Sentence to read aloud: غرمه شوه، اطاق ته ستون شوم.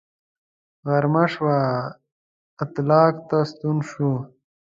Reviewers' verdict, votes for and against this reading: rejected, 0, 2